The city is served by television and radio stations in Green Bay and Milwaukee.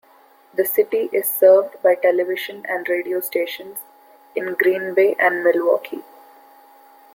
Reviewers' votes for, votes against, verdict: 2, 0, accepted